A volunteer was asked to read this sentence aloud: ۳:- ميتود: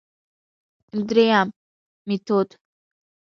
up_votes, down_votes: 0, 2